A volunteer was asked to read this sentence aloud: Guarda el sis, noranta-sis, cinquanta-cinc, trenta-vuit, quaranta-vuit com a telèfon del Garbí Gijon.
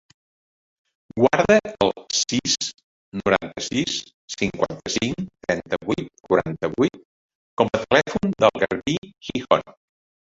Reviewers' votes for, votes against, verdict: 1, 2, rejected